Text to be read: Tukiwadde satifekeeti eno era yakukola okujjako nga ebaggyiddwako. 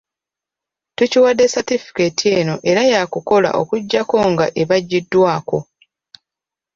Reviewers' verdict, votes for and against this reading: rejected, 0, 2